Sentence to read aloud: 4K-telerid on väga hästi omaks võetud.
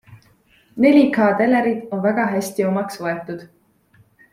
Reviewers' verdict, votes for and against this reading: rejected, 0, 2